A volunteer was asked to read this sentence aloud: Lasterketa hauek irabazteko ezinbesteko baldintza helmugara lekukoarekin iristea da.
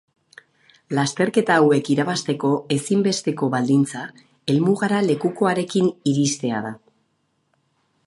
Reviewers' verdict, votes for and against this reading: accepted, 4, 0